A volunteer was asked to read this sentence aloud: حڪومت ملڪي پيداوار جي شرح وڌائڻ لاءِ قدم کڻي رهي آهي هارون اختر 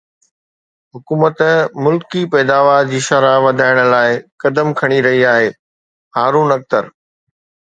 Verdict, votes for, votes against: accepted, 2, 0